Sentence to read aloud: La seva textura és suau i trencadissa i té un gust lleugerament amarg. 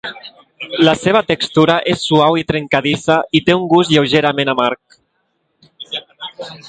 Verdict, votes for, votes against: rejected, 1, 2